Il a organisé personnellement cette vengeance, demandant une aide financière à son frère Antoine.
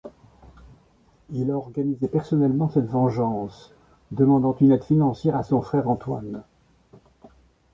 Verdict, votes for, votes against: accepted, 2, 0